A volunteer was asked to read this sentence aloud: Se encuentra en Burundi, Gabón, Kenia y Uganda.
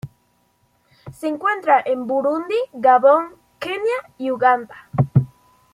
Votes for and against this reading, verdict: 2, 0, accepted